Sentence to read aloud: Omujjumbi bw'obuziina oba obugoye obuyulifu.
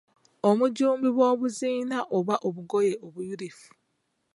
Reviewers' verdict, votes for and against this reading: accepted, 2, 0